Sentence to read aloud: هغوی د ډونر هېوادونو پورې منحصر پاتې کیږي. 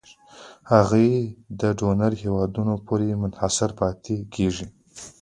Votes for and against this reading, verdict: 1, 2, rejected